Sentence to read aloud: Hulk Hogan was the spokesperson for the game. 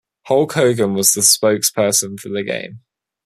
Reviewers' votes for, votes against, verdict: 2, 0, accepted